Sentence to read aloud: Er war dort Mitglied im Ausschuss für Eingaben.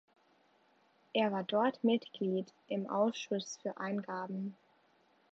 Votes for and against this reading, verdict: 2, 0, accepted